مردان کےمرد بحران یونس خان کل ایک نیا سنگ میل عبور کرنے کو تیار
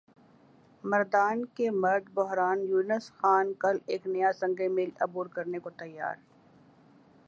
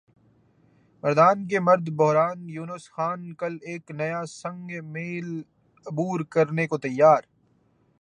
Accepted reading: second